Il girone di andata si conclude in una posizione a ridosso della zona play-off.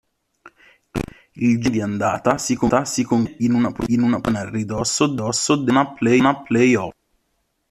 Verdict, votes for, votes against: rejected, 0, 3